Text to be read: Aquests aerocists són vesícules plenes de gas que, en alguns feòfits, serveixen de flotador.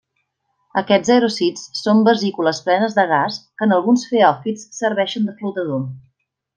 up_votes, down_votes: 2, 0